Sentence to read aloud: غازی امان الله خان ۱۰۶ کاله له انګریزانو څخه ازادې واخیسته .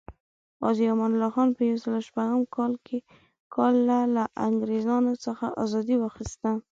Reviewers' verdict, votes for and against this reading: rejected, 0, 2